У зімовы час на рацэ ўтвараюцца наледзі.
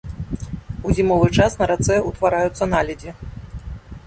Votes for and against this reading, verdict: 2, 0, accepted